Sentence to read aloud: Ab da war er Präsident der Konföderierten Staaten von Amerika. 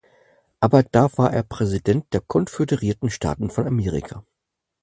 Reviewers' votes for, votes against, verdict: 4, 0, accepted